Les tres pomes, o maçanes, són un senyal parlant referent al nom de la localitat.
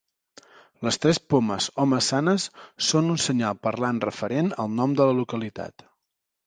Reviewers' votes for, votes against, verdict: 2, 0, accepted